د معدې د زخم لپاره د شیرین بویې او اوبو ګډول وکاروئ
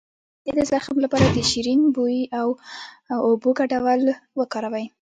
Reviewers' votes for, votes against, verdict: 2, 1, accepted